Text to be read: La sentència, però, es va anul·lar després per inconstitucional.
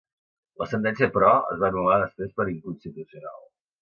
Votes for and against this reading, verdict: 0, 2, rejected